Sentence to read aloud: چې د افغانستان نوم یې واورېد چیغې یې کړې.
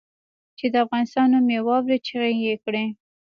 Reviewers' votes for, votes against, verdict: 1, 2, rejected